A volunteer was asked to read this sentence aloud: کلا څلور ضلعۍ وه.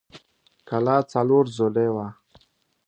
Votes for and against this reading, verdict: 2, 0, accepted